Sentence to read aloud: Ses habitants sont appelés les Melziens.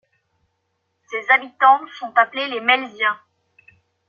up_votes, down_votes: 2, 0